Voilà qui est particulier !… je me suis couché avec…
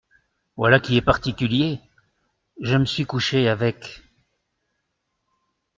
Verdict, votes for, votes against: accepted, 2, 0